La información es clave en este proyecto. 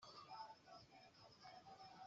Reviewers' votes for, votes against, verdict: 0, 2, rejected